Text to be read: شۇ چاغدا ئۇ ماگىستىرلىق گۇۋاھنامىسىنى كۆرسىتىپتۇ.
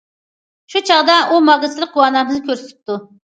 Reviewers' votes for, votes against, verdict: 0, 2, rejected